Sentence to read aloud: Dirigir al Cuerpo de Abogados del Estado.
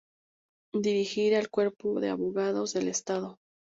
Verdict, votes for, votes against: accepted, 2, 0